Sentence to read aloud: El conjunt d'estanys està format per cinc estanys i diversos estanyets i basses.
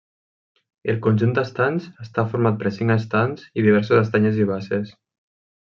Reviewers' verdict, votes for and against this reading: rejected, 0, 2